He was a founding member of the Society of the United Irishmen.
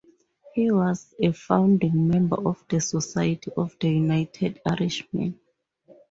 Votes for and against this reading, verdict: 0, 2, rejected